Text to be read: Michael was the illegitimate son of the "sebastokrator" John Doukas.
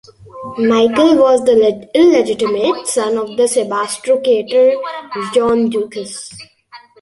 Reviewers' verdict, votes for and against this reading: accepted, 3, 0